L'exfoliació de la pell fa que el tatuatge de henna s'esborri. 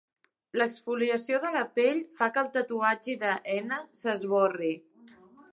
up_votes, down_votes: 0, 6